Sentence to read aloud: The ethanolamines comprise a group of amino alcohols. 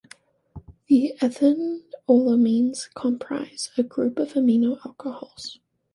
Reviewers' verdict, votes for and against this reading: rejected, 1, 2